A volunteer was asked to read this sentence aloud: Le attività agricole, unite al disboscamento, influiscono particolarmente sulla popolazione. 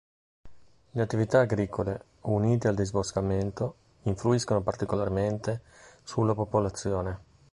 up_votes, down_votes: 3, 0